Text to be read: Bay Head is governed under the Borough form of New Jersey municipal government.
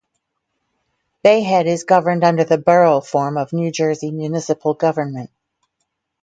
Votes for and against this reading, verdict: 2, 2, rejected